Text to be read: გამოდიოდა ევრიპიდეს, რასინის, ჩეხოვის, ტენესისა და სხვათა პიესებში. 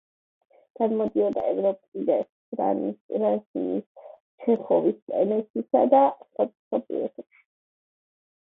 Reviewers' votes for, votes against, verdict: 0, 2, rejected